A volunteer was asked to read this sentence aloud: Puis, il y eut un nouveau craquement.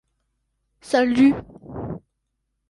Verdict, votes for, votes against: rejected, 1, 2